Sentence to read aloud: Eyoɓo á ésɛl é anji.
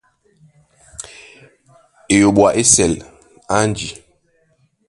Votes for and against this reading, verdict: 1, 2, rejected